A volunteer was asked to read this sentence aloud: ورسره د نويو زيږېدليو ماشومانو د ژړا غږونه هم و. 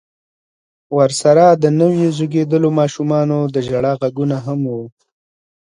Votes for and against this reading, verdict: 2, 0, accepted